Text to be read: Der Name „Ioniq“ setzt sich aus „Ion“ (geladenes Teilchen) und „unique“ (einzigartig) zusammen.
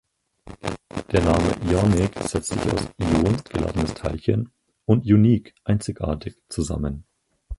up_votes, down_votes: 0, 4